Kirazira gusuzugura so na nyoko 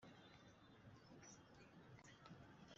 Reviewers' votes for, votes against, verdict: 0, 2, rejected